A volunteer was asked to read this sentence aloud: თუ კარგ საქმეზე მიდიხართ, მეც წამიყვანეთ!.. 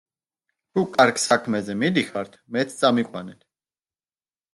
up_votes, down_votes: 0, 2